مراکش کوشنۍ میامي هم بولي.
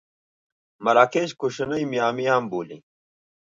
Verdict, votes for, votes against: accepted, 2, 0